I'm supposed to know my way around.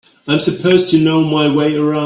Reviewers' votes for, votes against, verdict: 1, 2, rejected